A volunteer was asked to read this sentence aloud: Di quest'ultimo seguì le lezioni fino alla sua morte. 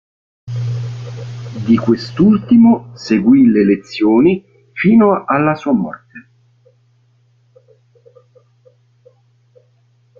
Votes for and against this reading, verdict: 2, 0, accepted